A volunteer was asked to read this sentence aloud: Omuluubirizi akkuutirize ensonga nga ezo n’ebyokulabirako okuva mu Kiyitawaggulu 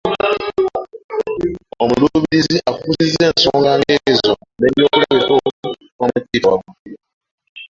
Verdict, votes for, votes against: rejected, 0, 2